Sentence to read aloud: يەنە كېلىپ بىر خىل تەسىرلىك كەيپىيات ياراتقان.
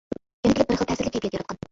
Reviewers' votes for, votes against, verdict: 0, 2, rejected